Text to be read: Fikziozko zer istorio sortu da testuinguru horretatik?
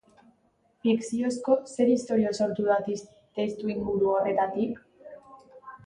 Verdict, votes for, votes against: rejected, 1, 2